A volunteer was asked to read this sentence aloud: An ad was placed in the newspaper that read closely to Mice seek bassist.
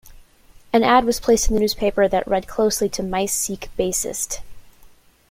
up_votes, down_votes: 2, 0